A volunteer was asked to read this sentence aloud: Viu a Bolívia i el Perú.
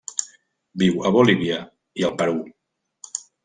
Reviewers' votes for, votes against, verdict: 3, 1, accepted